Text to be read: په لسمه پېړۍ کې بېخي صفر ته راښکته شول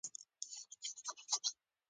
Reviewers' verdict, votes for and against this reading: rejected, 1, 2